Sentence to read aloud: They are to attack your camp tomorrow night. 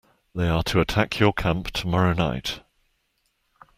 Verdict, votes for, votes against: accepted, 2, 0